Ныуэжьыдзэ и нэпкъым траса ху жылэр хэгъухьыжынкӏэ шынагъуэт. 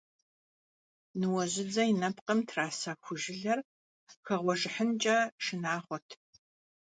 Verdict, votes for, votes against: rejected, 1, 2